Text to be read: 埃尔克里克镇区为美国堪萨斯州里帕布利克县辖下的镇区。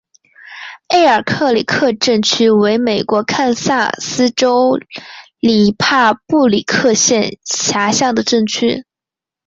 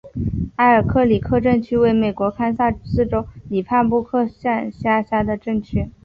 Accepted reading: second